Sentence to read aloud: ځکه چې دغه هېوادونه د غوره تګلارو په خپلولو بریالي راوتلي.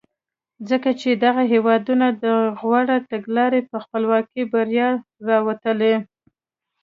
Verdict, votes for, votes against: rejected, 0, 2